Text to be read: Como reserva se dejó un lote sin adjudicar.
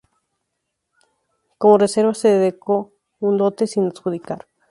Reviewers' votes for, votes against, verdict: 2, 0, accepted